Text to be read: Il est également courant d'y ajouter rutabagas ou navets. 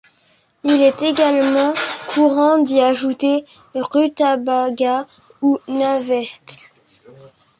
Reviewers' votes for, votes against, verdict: 0, 2, rejected